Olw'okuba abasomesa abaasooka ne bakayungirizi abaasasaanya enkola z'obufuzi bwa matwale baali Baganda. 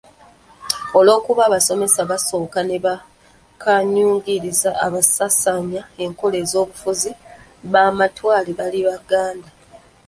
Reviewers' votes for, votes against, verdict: 0, 2, rejected